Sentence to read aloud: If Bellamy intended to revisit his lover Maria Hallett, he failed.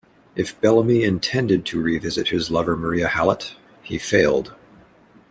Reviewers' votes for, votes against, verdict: 2, 0, accepted